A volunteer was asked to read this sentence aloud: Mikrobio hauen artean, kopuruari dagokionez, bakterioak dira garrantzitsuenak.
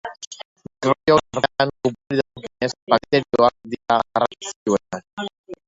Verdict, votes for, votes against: rejected, 0, 2